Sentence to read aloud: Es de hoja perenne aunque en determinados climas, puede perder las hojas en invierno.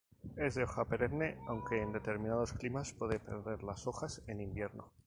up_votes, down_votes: 2, 2